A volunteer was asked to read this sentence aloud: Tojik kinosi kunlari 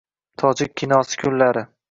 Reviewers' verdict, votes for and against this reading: rejected, 1, 2